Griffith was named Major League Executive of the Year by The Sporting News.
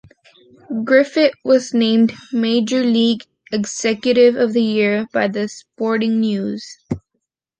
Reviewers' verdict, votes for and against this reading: accepted, 2, 0